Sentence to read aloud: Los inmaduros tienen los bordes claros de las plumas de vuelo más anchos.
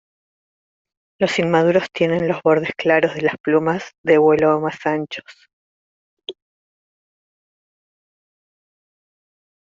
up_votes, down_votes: 1, 2